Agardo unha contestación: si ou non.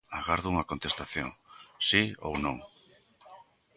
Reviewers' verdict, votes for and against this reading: accepted, 3, 0